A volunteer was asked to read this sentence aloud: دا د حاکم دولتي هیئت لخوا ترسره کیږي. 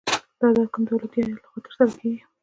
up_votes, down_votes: 1, 2